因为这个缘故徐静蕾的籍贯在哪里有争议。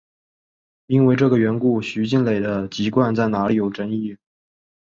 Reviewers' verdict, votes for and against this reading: accepted, 2, 0